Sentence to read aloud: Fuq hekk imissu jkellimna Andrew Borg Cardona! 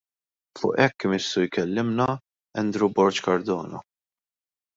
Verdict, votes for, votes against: rejected, 0, 2